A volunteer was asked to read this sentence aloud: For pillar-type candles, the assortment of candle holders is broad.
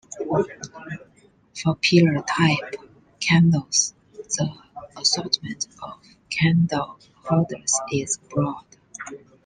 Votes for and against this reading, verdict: 0, 2, rejected